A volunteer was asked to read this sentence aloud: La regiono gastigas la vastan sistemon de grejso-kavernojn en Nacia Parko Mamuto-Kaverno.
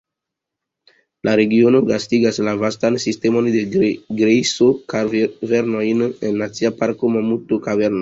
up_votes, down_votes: 2, 1